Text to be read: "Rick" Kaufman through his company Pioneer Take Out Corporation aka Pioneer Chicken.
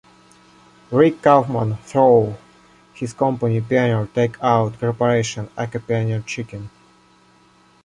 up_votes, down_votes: 0, 2